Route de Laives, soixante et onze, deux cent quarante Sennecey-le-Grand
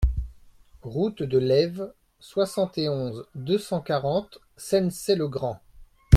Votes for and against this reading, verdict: 2, 0, accepted